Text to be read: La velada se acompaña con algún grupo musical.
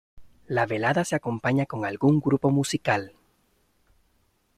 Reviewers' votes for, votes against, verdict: 3, 0, accepted